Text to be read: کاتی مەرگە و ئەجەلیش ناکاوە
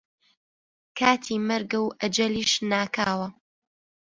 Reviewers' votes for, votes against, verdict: 2, 0, accepted